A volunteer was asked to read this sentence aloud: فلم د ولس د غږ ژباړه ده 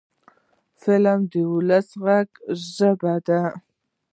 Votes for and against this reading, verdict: 1, 2, rejected